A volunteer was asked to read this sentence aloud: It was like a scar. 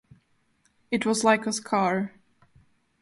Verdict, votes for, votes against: accepted, 4, 0